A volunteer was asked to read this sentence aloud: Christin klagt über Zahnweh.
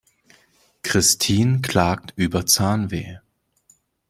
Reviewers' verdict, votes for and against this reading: accepted, 2, 0